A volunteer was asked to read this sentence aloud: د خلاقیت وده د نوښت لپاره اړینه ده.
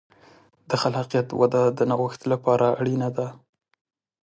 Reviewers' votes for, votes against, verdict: 4, 0, accepted